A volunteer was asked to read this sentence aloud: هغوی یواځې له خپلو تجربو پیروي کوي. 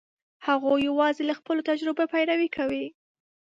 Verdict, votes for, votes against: accepted, 2, 0